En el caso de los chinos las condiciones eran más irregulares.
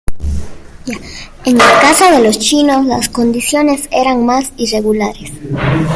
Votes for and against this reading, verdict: 2, 0, accepted